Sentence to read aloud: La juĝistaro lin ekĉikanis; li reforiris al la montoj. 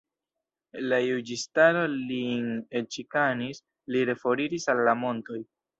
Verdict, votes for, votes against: accepted, 3, 0